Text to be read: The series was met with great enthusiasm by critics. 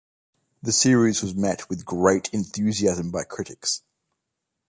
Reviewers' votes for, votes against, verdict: 2, 0, accepted